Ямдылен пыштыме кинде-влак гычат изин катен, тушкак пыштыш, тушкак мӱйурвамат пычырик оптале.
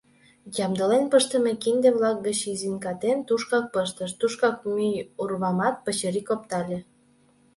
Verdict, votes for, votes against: rejected, 1, 2